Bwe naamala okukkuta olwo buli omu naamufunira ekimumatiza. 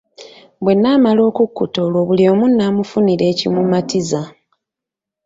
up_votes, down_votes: 2, 0